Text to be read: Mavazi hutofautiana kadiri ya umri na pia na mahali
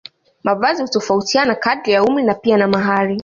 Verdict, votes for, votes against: accepted, 2, 0